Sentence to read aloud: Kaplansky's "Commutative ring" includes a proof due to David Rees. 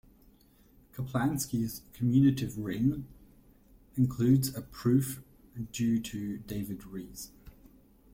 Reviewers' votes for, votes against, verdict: 0, 3, rejected